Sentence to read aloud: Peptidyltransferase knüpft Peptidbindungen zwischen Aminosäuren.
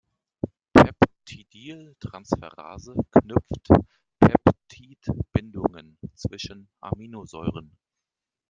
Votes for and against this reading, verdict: 0, 2, rejected